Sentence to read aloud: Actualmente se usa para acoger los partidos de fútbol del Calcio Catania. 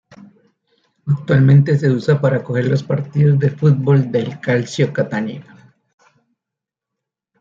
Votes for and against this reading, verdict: 2, 1, accepted